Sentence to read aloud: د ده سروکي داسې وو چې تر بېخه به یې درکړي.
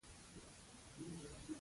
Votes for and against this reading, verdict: 1, 2, rejected